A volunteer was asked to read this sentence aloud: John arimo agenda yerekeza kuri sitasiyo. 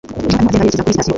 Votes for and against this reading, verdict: 1, 2, rejected